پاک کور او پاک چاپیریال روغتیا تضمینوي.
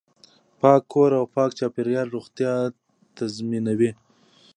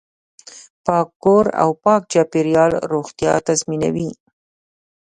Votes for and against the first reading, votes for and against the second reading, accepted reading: 2, 0, 0, 2, first